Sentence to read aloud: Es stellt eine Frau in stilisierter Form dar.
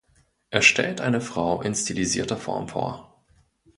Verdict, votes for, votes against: rejected, 0, 2